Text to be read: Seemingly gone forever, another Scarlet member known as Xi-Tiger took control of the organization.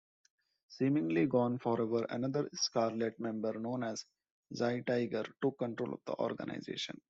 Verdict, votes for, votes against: accepted, 2, 0